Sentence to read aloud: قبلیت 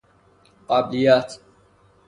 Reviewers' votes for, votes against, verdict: 3, 0, accepted